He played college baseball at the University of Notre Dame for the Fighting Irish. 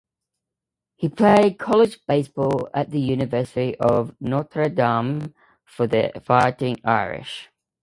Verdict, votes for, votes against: accepted, 2, 0